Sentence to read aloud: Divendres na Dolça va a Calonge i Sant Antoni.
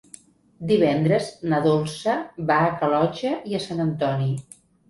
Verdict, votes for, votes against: rejected, 1, 2